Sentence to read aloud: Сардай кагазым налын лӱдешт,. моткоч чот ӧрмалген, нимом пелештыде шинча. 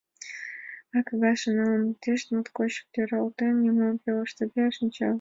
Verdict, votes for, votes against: rejected, 0, 2